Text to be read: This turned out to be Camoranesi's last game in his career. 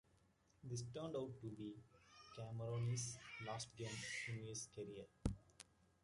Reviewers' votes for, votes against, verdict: 1, 2, rejected